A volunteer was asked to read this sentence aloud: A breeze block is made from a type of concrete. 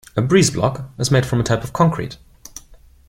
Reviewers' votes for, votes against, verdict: 2, 0, accepted